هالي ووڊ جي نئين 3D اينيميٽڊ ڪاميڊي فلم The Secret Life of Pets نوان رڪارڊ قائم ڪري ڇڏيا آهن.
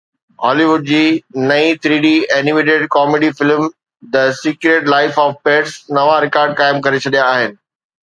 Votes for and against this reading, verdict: 0, 2, rejected